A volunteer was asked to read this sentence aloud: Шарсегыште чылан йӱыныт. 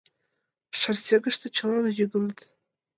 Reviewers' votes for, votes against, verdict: 2, 1, accepted